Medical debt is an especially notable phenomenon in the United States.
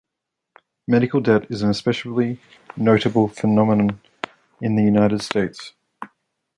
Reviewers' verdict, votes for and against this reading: accepted, 2, 0